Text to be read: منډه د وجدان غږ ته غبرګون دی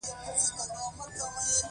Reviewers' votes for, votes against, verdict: 2, 0, accepted